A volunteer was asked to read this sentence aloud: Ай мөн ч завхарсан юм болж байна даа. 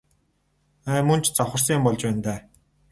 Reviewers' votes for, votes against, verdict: 0, 2, rejected